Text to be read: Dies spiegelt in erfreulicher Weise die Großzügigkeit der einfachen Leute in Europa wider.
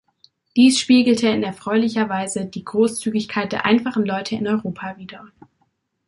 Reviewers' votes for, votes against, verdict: 0, 2, rejected